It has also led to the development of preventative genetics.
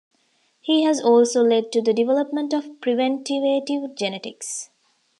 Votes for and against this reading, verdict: 0, 2, rejected